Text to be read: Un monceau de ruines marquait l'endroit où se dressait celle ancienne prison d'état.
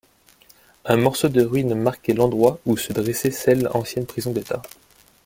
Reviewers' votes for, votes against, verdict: 0, 2, rejected